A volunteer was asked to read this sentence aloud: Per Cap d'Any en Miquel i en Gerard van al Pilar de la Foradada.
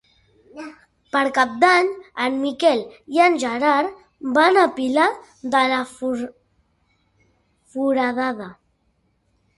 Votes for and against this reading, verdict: 1, 4, rejected